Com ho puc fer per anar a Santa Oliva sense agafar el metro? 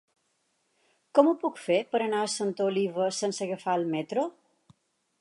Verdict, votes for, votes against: accepted, 4, 0